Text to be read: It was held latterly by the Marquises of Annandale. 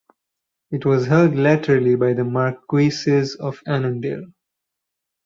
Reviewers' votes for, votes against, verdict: 2, 4, rejected